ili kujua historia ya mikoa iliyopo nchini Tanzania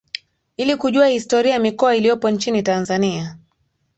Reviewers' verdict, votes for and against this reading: accepted, 2, 0